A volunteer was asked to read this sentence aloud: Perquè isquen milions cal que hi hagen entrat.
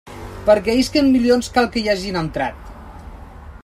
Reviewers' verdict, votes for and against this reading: rejected, 0, 2